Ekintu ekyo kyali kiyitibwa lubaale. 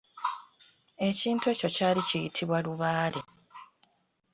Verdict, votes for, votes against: accepted, 2, 0